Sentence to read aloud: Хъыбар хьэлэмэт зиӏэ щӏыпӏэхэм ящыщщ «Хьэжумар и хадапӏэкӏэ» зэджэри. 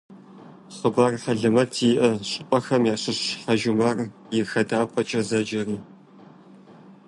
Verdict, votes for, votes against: accepted, 2, 0